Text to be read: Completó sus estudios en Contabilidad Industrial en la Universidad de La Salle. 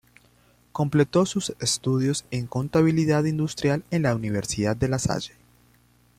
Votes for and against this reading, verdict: 2, 0, accepted